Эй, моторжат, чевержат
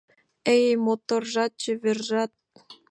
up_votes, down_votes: 3, 0